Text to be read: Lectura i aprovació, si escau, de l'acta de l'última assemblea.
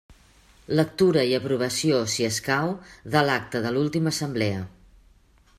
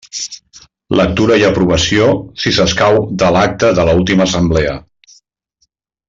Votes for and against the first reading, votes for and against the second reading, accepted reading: 2, 0, 0, 2, first